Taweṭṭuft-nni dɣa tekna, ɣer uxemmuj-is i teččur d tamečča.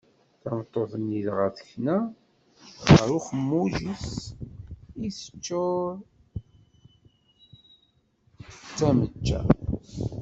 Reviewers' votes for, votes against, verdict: 0, 2, rejected